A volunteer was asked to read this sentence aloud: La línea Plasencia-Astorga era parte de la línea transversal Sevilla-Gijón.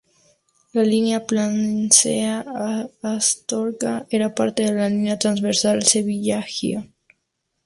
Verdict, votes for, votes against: rejected, 2, 4